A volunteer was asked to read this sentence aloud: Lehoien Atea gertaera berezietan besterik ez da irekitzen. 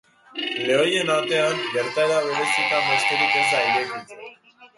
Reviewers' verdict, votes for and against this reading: rejected, 0, 3